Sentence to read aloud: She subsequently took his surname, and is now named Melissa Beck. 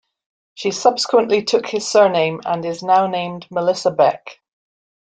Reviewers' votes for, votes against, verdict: 1, 2, rejected